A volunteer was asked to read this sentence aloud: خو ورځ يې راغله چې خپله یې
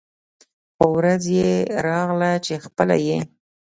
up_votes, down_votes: 2, 0